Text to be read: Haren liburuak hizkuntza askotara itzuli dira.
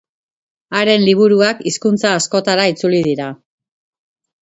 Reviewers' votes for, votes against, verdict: 2, 0, accepted